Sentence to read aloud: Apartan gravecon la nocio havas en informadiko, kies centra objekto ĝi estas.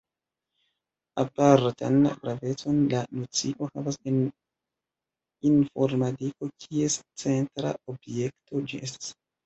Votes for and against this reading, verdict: 1, 2, rejected